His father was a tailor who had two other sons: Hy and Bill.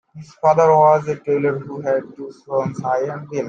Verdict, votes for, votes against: rejected, 1, 2